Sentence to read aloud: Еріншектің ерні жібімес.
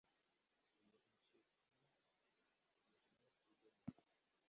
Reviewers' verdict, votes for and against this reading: rejected, 1, 2